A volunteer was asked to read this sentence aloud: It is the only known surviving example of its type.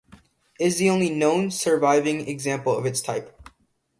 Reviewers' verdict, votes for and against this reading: rejected, 0, 2